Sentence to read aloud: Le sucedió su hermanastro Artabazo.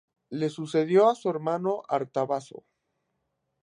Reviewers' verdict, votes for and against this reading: rejected, 0, 2